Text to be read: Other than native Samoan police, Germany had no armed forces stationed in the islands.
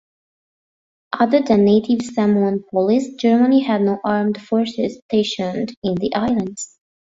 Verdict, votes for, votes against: accepted, 2, 0